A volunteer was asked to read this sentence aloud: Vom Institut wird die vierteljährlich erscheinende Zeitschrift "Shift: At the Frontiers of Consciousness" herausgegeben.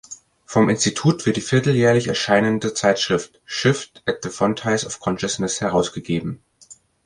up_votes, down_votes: 0, 2